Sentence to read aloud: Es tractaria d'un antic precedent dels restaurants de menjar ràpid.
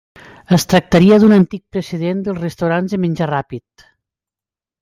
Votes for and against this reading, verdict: 2, 0, accepted